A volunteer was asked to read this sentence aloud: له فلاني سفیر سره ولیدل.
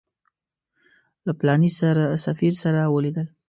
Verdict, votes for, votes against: rejected, 1, 2